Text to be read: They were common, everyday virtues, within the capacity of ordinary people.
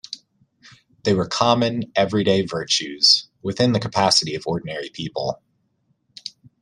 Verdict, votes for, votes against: accepted, 2, 0